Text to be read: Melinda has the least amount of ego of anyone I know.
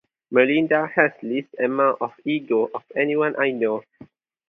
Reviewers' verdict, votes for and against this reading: rejected, 0, 2